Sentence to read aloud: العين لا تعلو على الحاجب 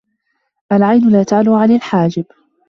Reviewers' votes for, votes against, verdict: 1, 2, rejected